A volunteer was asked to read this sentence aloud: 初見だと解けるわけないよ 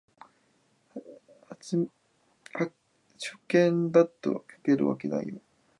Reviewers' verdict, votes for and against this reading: rejected, 0, 2